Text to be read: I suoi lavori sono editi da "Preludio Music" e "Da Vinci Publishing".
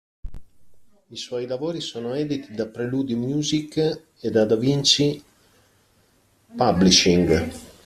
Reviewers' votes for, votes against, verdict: 0, 2, rejected